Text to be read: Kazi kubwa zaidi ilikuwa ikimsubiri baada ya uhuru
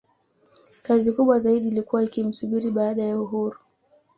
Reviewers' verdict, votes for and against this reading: accepted, 3, 0